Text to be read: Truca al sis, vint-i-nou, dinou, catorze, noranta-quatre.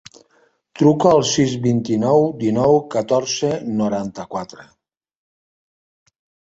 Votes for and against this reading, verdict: 3, 0, accepted